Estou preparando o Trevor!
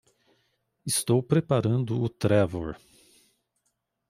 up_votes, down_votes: 2, 0